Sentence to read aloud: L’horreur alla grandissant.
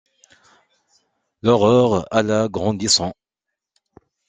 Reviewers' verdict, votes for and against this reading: accepted, 2, 0